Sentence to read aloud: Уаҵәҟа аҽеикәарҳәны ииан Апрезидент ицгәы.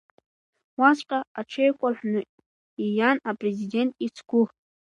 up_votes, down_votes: 2, 0